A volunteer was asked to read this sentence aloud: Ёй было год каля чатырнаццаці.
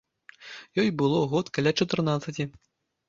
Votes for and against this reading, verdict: 2, 0, accepted